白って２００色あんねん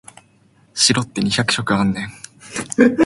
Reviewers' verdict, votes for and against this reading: rejected, 0, 2